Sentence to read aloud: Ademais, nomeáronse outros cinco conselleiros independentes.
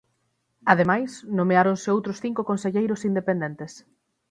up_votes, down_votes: 6, 0